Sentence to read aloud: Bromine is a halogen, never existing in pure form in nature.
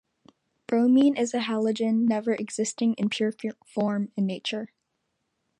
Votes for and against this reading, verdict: 2, 0, accepted